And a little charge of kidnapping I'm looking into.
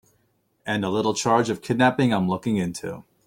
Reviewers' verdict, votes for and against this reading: accepted, 4, 0